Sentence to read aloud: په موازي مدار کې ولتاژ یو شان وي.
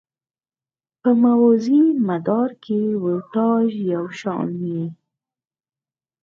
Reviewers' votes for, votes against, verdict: 4, 0, accepted